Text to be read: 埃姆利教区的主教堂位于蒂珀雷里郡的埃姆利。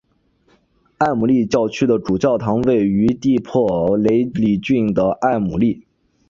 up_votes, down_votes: 2, 2